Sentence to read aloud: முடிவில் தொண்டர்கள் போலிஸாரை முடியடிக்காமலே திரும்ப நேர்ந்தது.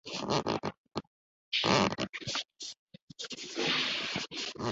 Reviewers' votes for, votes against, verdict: 0, 2, rejected